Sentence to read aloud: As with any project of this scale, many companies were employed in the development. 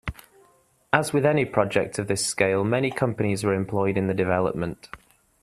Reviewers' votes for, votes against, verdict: 2, 0, accepted